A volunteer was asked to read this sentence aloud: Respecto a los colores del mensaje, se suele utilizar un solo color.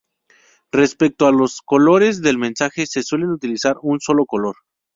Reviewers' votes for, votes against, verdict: 2, 2, rejected